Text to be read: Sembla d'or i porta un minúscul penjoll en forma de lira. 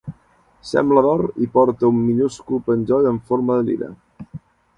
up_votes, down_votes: 3, 0